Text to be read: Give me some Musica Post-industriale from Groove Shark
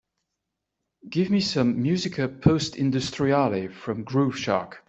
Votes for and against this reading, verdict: 3, 0, accepted